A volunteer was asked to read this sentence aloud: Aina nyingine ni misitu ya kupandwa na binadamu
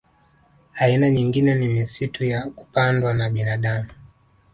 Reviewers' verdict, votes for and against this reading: accepted, 2, 0